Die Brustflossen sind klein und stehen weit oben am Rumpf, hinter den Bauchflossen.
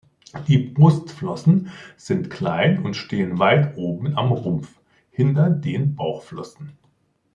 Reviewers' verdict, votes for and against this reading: accepted, 2, 0